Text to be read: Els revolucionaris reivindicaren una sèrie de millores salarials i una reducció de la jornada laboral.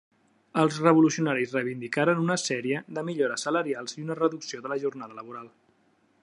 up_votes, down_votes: 3, 0